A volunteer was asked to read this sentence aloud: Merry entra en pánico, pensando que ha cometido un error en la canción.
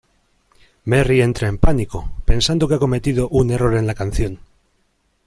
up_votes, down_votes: 2, 0